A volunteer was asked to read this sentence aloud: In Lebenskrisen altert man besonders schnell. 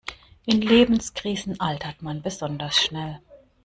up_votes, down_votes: 2, 0